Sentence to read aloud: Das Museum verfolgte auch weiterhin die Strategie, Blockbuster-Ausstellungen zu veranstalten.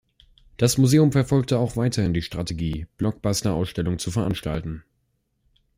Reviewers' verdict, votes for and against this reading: accepted, 2, 0